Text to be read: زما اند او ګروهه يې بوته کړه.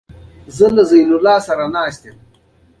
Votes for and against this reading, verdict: 1, 2, rejected